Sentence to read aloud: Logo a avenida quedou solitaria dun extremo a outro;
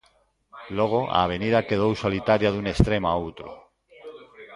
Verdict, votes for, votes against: rejected, 1, 2